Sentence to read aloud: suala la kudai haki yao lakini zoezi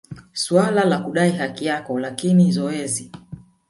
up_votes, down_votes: 0, 2